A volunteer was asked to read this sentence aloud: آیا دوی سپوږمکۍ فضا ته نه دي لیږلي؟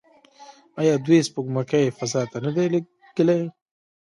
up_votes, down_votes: 0, 2